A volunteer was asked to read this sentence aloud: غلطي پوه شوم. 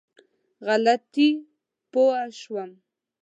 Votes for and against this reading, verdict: 2, 0, accepted